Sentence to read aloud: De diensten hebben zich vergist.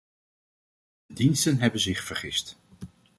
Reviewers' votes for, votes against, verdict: 0, 2, rejected